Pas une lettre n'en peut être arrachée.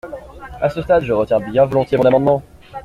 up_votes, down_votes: 0, 2